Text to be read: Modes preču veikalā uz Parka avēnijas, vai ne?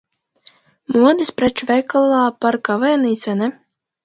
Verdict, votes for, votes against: rejected, 0, 2